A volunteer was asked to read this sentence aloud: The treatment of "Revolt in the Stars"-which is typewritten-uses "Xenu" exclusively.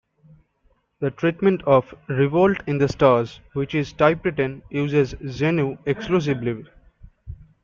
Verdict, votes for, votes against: accepted, 2, 0